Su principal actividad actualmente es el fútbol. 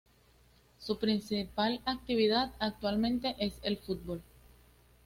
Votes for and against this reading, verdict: 2, 0, accepted